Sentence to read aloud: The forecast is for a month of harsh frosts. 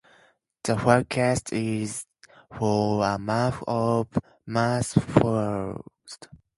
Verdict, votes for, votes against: accepted, 2, 0